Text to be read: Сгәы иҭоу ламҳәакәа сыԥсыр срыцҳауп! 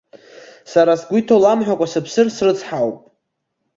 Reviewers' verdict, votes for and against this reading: rejected, 1, 2